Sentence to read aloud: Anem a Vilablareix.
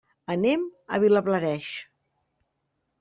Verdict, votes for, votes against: rejected, 0, 2